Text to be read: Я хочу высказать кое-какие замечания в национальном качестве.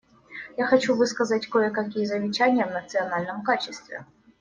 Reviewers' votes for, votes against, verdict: 2, 0, accepted